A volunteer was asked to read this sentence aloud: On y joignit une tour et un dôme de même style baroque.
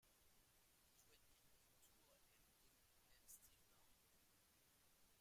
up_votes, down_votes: 0, 2